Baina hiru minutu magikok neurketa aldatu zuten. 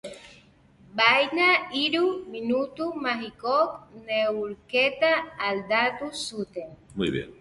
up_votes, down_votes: 0, 2